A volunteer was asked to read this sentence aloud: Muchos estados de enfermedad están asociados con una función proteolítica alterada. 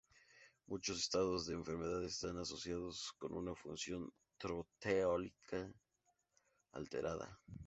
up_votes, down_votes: 0, 2